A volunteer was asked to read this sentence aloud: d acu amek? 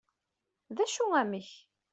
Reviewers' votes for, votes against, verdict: 2, 0, accepted